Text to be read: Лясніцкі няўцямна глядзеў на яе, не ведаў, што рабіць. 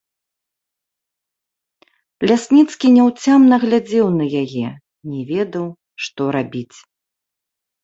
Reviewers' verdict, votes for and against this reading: accepted, 3, 0